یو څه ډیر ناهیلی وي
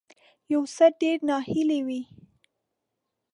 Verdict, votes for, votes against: accepted, 2, 1